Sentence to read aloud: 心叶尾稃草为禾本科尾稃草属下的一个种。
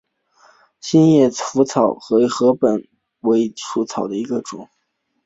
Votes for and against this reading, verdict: 1, 2, rejected